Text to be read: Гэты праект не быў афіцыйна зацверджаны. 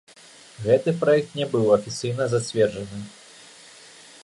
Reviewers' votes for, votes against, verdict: 3, 1, accepted